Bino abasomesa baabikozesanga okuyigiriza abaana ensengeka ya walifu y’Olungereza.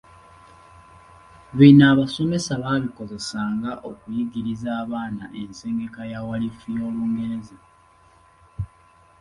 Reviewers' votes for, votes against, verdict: 3, 0, accepted